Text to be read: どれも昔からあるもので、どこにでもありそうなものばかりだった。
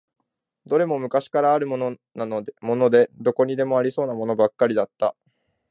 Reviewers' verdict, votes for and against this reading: rejected, 1, 2